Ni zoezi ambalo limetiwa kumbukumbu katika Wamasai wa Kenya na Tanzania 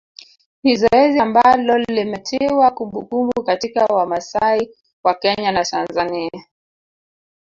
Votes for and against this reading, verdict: 1, 4, rejected